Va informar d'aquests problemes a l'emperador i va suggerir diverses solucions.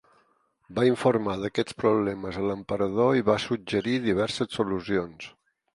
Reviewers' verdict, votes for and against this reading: accepted, 6, 0